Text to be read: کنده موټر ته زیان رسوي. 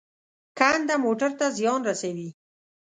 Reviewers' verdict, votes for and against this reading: accepted, 2, 0